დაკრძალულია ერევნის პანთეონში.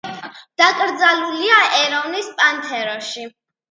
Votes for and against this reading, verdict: 1, 2, rejected